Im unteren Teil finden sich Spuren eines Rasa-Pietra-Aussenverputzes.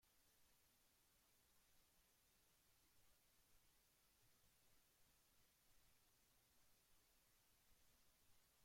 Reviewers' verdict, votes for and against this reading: rejected, 0, 2